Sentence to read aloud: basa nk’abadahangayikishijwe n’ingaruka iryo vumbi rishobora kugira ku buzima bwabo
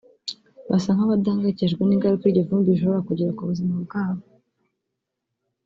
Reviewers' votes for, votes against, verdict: 2, 0, accepted